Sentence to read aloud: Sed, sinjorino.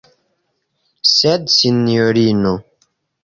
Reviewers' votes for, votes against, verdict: 2, 1, accepted